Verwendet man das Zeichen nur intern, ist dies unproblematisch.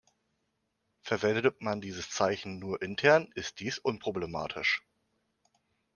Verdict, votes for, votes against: rejected, 1, 3